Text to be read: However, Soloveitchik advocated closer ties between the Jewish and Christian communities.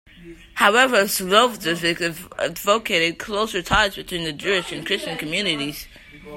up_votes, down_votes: 0, 2